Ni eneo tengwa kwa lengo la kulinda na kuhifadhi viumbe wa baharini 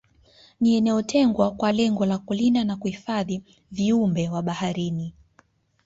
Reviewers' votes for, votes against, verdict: 2, 0, accepted